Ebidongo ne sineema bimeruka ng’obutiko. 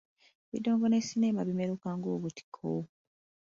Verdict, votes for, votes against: accepted, 2, 1